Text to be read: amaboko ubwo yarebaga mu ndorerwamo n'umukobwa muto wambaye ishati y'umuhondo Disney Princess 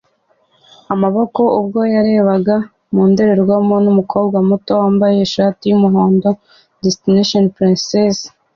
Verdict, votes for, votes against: accepted, 2, 0